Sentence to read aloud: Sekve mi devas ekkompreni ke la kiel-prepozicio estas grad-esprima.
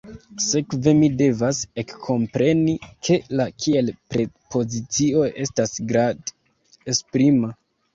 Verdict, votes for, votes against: rejected, 1, 2